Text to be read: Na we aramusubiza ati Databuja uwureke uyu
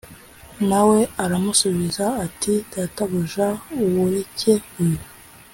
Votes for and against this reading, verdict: 2, 0, accepted